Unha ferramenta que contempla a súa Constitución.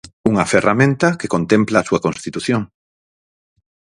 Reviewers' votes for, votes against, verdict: 4, 0, accepted